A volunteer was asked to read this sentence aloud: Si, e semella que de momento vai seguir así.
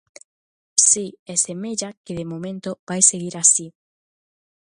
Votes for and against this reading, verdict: 2, 0, accepted